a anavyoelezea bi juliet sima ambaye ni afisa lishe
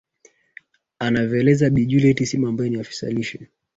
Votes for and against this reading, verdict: 0, 2, rejected